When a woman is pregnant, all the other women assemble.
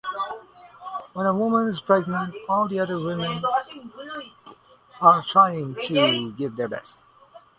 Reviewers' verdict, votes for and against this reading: rejected, 0, 2